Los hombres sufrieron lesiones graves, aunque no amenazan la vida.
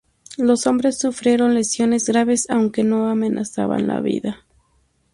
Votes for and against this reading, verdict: 0, 2, rejected